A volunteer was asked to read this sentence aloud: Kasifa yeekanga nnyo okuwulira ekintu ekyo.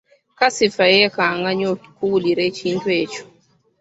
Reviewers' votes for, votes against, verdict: 2, 1, accepted